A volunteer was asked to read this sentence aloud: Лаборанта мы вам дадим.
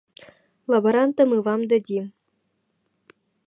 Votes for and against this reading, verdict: 1, 2, rejected